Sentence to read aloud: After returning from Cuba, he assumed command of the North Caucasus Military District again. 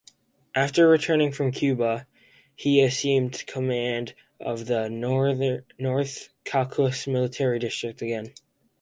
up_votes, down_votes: 0, 4